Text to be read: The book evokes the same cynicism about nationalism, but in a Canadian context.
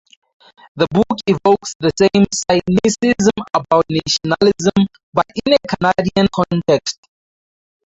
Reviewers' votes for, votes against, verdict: 2, 2, rejected